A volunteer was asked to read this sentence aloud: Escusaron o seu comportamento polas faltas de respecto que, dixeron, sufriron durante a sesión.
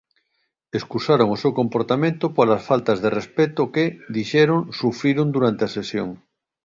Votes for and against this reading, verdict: 2, 1, accepted